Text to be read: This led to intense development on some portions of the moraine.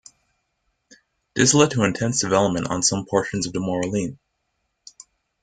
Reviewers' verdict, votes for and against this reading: rejected, 1, 2